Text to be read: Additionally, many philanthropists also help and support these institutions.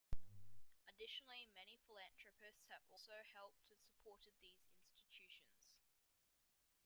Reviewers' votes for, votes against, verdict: 1, 2, rejected